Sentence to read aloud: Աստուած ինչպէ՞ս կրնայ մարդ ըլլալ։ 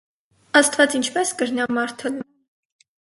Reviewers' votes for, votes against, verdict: 0, 4, rejected